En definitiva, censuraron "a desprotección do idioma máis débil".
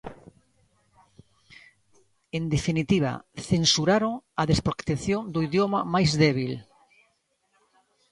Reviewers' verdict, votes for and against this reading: accepted, 2, 0